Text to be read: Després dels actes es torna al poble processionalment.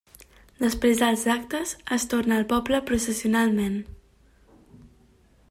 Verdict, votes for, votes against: accepted, 3, 0